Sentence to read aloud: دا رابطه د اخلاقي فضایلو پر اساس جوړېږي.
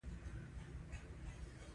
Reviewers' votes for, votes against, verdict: 0, 2, rejected